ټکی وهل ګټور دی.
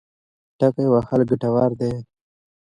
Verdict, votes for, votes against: rejected, 0, 2